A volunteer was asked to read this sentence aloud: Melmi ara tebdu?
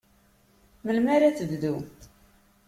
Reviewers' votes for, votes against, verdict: 2, 0, accepted